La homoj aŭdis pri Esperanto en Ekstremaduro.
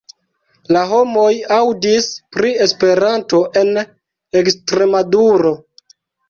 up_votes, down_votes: 2, 0